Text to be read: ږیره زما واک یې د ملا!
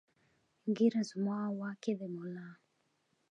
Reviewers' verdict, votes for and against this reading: accepted, 2, 0